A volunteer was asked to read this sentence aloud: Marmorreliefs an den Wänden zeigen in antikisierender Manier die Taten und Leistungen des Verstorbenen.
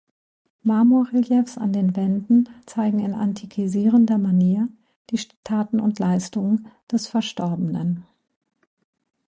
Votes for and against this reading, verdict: 0, 2, rejected